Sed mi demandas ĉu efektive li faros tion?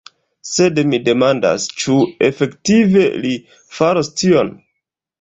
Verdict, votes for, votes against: rejected, 0, 2